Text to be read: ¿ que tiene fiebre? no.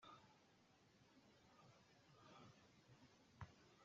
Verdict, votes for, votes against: rejected, 0, 2